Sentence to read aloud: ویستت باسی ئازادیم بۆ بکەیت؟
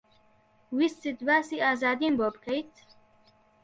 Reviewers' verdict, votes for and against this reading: accepted, 2, 0